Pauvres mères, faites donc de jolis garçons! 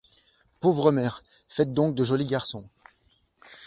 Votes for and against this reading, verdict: 2, 0, accepted